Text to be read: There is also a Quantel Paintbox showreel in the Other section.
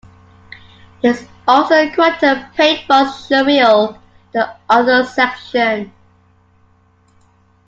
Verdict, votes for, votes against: rejected, 0, 2